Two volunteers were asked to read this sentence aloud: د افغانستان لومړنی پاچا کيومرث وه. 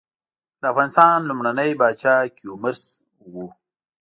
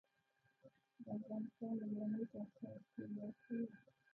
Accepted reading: first